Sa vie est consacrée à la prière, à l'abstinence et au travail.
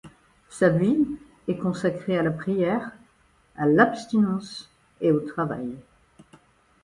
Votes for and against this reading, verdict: 1, 2, rejected